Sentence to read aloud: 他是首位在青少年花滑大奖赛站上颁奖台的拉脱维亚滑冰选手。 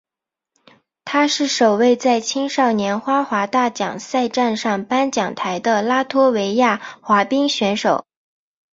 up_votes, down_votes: 5, 0